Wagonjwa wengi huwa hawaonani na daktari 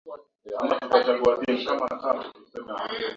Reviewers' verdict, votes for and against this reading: rejected, 0, 5